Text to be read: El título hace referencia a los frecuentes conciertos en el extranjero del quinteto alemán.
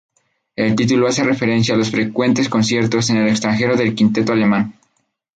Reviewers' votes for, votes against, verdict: 2, 0, accepted